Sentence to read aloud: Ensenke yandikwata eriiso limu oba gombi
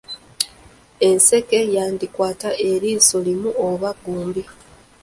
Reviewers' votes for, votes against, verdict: 1, 2, rejected